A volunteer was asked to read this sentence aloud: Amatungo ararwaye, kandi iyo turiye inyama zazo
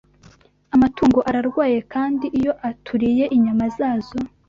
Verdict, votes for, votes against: rejected, 0, 2